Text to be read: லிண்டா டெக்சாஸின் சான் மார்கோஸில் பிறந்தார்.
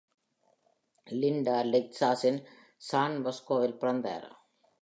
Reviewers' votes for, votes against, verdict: 1, 2, rejected